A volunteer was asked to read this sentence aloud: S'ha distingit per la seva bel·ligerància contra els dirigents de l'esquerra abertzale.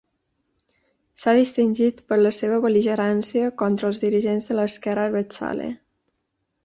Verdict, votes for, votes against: accepted, 2, 0